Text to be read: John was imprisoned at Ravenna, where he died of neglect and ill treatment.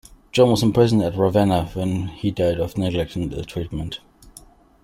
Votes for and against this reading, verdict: 0, 2, rejected